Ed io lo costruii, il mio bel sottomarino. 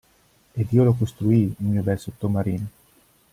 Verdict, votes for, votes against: rejected, 0, 2